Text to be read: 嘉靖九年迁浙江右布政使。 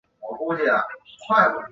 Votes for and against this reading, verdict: 0, 2, rejected